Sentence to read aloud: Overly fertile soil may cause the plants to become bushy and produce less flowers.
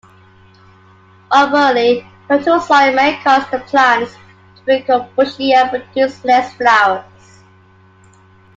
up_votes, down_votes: 2, 0